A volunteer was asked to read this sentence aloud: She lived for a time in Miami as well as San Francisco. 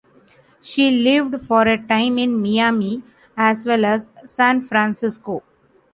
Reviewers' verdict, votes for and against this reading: rejected, 0, 2